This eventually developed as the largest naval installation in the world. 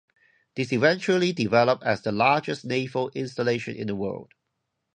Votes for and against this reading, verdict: 4, 0, accepted